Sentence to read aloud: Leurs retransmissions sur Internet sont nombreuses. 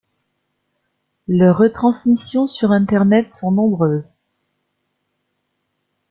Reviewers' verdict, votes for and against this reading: accepted, 2, 0